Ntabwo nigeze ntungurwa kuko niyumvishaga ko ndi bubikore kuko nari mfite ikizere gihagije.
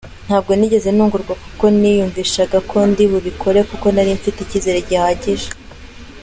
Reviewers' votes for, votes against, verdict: 2, 0, accepted